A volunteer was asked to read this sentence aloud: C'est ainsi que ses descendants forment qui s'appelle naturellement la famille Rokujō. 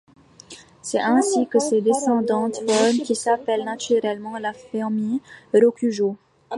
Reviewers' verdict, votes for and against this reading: rejected, 1, 2